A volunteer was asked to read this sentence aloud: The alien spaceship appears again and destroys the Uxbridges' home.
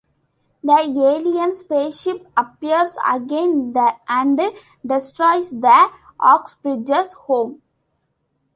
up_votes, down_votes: 0, 2